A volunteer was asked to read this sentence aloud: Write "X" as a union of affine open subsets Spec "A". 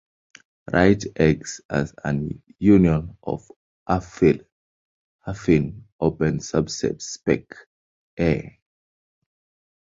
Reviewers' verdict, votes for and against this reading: rejected, 1, 2